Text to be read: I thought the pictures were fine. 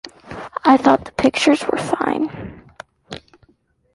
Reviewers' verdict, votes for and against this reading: accepted, 2, 1